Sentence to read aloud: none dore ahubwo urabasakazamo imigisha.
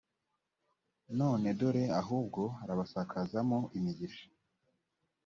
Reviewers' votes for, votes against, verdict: 2, 0, accepted